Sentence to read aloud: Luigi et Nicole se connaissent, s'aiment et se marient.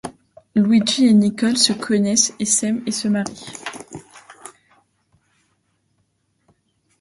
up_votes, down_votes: 0, 2